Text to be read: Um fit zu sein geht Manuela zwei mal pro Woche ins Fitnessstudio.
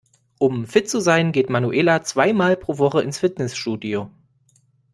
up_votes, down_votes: 2, 0